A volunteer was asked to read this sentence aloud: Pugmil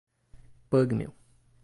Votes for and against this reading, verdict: 1, 2, rejected